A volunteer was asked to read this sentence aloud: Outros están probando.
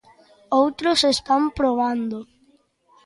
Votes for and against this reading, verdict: 2, 0, accepted